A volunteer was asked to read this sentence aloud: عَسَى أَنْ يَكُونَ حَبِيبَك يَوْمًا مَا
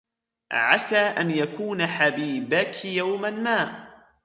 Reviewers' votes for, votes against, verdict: 2, 0, accepted